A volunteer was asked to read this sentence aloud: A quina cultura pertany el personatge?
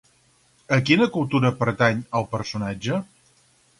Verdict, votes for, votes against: accepted, 2, 0